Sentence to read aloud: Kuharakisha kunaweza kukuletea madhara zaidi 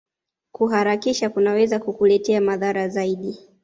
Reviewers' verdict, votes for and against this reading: accepted, 2, 0